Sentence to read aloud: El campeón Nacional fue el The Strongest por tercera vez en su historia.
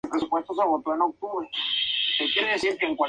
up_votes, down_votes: 0, 4